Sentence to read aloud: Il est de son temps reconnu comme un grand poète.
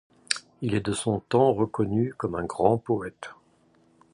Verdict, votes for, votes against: accepted, 2, 0